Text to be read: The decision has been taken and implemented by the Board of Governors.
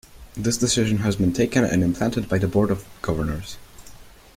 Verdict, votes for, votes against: rejected, 1, 2